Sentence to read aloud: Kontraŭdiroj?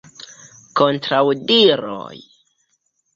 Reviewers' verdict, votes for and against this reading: accepted, 2, 0